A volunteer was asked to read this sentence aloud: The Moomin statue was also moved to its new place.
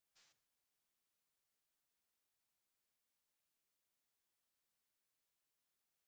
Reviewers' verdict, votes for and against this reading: rejected, 0, 2